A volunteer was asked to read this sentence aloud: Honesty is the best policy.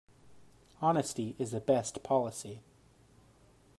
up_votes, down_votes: 2, 0